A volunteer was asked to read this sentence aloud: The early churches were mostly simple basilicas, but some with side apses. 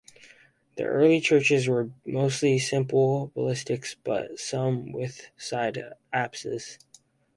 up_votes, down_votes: 0, 2